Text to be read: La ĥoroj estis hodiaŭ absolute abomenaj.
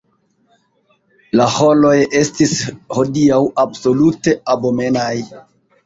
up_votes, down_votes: 1, 2